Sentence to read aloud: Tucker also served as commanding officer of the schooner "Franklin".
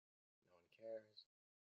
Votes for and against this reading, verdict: 0, 2, rejected